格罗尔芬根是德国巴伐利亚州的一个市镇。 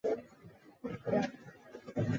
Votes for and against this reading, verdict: 0, 2, rejected